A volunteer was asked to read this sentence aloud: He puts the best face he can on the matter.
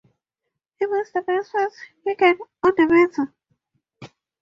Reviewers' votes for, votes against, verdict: 2, 0, accepted